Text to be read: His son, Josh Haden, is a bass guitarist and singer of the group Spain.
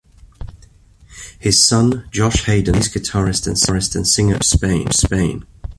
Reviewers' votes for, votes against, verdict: 1, 2, rejected